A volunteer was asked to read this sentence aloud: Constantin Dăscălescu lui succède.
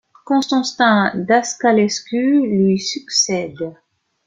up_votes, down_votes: 1, 2